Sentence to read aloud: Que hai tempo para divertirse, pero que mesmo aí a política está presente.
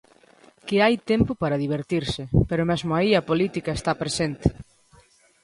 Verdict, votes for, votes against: rejected, 0, 2